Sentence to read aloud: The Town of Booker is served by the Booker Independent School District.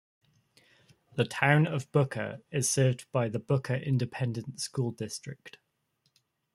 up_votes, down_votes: 2, 0